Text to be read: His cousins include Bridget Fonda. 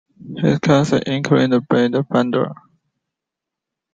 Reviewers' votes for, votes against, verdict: 1, 2, rejected